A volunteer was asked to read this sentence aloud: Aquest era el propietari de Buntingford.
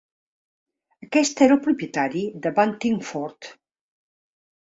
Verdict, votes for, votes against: rejected, 1, 2